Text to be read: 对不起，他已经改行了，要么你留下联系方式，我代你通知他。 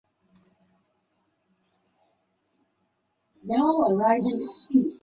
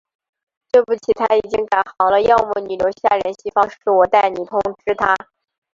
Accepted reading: second